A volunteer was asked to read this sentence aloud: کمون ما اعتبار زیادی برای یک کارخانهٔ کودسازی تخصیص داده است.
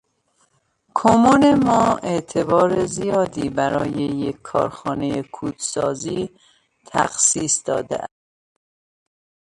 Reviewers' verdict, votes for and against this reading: rejected, 0, 2